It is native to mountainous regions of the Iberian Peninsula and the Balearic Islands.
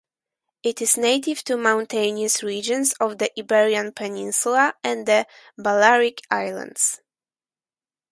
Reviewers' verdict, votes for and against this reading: accepted, 4, 0